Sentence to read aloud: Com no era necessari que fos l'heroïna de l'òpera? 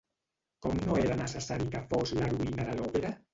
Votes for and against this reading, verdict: 0, 2, rejected